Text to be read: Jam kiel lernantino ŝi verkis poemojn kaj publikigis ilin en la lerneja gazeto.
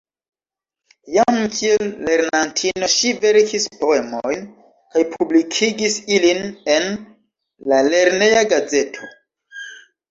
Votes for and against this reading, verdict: 2, 1, accepted